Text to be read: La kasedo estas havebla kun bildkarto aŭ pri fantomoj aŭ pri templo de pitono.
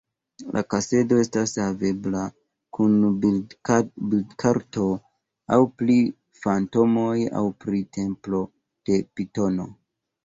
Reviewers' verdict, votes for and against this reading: rejected, 1, 3